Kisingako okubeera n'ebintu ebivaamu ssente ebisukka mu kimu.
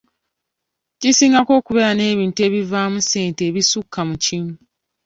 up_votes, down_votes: 3, 0